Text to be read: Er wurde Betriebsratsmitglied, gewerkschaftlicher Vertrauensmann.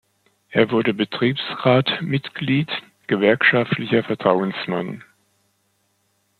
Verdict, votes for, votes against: rejected, 1, 2